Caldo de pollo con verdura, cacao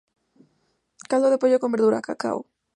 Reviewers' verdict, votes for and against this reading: rejected, 0, 2